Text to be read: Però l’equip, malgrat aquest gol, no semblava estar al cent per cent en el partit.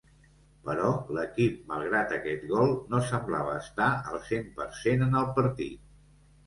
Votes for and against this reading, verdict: 2, 0, accepted